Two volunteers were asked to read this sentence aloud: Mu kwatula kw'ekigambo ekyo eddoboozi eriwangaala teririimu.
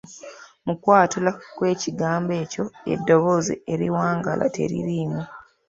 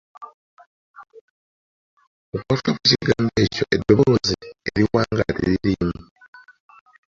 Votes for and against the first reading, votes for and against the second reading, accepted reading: 2, 0, 0, 2, first